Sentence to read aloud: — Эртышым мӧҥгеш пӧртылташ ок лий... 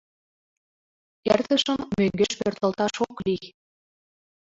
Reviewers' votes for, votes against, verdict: 0, 2, rejected